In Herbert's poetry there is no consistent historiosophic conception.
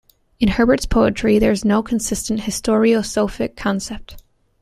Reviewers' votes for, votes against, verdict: 0, 2, rejected